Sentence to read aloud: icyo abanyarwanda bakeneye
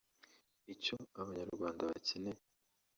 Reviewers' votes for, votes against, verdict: 2, 0, accepted